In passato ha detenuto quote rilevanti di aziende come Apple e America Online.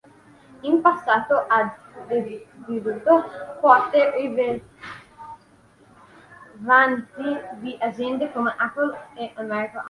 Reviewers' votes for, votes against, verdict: 0, 2, rejected